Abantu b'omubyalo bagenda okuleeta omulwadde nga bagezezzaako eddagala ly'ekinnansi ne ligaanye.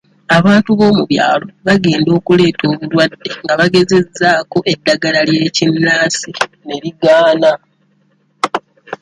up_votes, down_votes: 2, 0